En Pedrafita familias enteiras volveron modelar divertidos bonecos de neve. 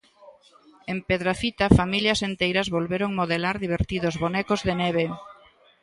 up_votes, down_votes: 2, 0